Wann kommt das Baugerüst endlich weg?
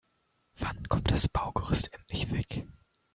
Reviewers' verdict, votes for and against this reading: rejected, 1, 2